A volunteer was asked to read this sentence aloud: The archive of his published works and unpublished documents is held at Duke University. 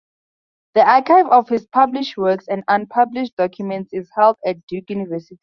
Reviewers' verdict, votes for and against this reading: rejected, 0, 4